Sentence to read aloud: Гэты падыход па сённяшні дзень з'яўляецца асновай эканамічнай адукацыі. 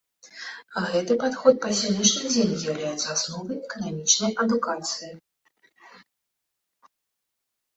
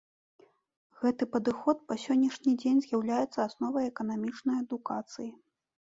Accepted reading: second